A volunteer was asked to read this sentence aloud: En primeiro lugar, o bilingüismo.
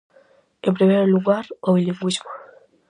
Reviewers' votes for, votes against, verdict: 4, 0, accepted